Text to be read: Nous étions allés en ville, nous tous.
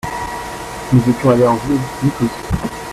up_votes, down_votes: 0, 2